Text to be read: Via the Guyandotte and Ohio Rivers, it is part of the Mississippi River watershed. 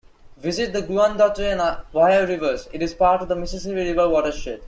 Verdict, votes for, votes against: rejected, 0, 2